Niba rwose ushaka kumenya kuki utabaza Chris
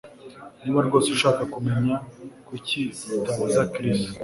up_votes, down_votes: 2, 0